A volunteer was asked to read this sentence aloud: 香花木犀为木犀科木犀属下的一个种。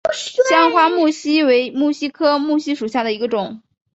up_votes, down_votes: 3, 0